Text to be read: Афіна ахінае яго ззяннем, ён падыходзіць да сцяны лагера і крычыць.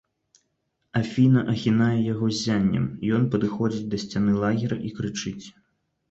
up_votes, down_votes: 2, 0